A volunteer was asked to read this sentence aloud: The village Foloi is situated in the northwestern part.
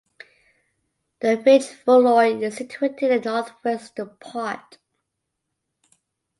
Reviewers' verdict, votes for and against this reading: rejected, 1, 2